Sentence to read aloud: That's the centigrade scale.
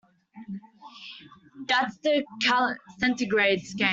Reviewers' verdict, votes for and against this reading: rejected, 0, 2